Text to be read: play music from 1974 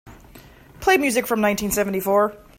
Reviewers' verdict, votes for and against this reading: rejected, 0, 2